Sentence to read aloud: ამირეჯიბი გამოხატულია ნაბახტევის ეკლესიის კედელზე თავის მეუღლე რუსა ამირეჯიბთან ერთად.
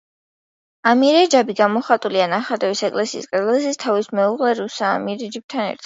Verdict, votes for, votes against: rejected, 1, 2